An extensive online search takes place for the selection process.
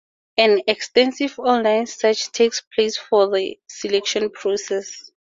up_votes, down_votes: 2, 0